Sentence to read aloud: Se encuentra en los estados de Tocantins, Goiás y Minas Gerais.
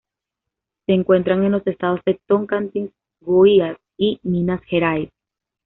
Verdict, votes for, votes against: rejected, 1, 2